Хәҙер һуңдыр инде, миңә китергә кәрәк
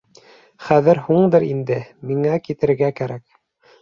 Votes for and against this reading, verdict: 2, 0, accepted